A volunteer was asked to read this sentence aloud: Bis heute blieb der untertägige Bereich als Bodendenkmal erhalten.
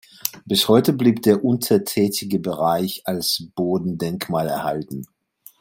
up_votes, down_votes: 1, 2